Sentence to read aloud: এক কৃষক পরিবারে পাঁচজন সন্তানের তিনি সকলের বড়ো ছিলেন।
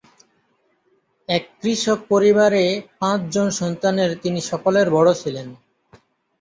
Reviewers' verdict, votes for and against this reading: accepted, 2, 0